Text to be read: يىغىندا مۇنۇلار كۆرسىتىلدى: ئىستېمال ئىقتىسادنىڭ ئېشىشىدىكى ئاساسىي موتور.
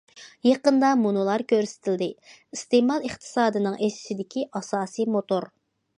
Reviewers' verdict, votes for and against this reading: rejected, 0, 2